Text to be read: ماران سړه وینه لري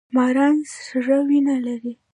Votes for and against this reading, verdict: 2, 0, accepted